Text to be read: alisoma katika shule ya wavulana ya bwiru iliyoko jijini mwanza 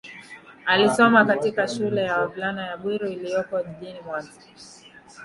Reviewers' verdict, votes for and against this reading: accepted, 2, 1